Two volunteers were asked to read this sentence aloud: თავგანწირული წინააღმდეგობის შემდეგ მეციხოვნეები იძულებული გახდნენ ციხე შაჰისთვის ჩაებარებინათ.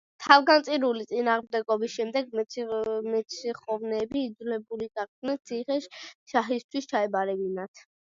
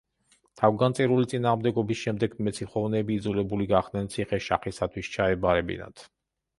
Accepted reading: first